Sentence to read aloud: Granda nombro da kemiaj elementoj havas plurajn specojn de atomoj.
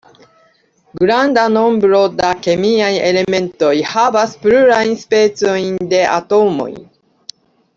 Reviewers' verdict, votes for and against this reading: accepted, 2, 0